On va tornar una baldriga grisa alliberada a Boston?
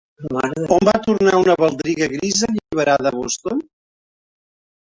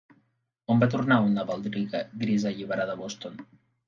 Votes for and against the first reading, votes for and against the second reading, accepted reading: 0, 3, 2, 1, second